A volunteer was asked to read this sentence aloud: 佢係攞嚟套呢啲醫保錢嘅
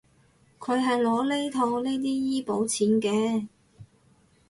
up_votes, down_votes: 2, 2